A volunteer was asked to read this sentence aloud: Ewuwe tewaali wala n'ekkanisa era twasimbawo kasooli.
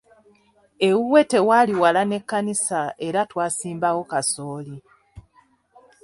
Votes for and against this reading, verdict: 2, 0, accepted